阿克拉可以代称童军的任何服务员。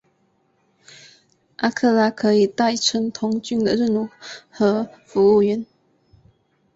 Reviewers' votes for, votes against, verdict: 2, 0, accepted